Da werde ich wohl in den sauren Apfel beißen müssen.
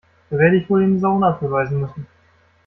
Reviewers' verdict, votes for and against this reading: rejected, 1, 2